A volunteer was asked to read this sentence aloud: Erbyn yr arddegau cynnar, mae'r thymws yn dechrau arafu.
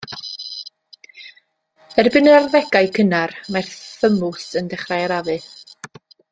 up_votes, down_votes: 2, 0